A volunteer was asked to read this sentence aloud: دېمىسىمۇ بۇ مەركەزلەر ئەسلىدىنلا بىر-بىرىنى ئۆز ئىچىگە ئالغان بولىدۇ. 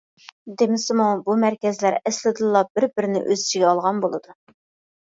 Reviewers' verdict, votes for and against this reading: accepted, 2, 0